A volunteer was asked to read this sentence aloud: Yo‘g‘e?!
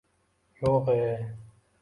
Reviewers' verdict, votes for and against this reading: accepted, 2, 0